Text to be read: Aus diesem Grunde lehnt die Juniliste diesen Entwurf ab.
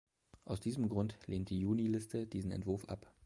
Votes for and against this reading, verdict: 0, 2, rejected